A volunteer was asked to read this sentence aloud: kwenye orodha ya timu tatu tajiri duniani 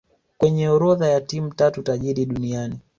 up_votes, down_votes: 3, 1